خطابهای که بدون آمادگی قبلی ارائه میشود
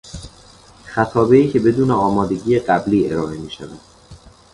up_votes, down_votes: 2, 0